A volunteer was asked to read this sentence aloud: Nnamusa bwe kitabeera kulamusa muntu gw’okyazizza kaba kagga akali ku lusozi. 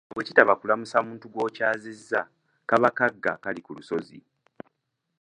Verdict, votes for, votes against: rejected, 0, 2